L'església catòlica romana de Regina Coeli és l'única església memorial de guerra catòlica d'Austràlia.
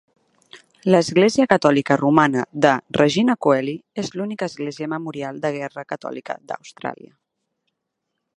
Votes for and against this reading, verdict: 4, 0, accepted